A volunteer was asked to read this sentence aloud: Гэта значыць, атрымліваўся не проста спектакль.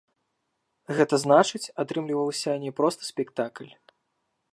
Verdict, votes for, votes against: accepted, 2, 0